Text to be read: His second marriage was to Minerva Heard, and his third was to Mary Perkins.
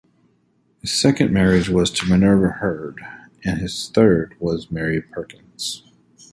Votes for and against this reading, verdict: 0, 2, rejected